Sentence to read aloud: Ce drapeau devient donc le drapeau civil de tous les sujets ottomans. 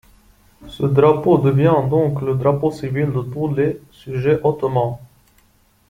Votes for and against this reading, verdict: 2, 1, accepted